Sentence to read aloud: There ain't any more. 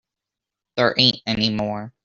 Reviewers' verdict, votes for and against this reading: accepted, 2, 0